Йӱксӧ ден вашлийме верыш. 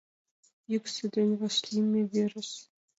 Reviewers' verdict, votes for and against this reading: rejected, 1, 2